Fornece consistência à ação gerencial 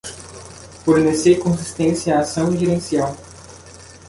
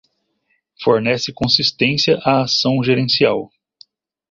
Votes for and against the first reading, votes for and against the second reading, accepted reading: 0, 2, 2, 0, second